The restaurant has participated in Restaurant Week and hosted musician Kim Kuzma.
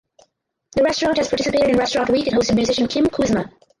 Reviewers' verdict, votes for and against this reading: rejected, 0, 10